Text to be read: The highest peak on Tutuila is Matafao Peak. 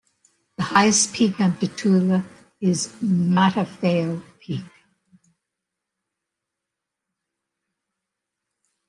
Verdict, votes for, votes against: accepted, 2, 0